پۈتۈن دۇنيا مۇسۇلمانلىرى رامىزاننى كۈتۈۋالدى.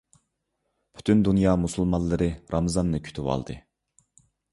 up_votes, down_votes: 2, 0